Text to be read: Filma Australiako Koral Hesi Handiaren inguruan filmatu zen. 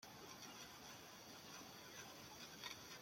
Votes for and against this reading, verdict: 0, 2, rejected